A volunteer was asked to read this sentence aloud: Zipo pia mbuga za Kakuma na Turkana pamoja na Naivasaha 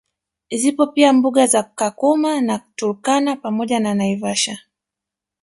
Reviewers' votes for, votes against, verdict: 1, 2, rejected